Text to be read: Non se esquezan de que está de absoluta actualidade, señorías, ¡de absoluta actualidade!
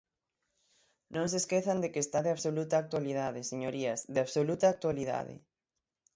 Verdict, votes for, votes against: accepted, 6, 0